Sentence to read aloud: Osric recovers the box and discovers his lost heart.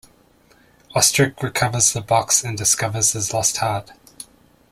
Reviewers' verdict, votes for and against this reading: rejected, 0, 2